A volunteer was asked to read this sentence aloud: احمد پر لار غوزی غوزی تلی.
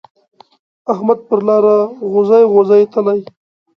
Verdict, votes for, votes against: accepted, 2, 0